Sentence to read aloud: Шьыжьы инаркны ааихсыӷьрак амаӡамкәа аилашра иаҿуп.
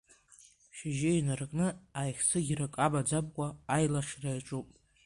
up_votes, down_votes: 0, 2